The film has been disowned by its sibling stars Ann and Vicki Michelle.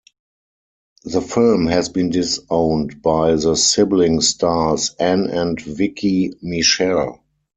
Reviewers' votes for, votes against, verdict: 4, 2, accepted